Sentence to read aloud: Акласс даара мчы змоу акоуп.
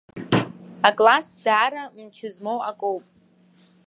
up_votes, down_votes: 2, 1